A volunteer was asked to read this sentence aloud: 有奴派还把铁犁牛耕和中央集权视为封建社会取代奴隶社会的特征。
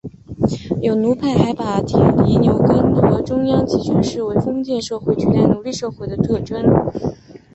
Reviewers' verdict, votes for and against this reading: accepted, 4, 0